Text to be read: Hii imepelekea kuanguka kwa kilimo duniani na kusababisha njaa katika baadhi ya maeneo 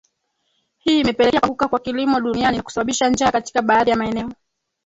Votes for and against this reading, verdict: 0, 3, rejected